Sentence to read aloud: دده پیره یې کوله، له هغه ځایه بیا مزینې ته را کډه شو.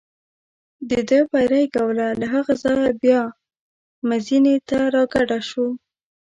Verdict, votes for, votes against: rejected, 0, 2